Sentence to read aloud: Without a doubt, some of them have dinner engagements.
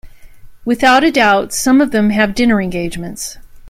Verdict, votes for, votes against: accepted, 2, 0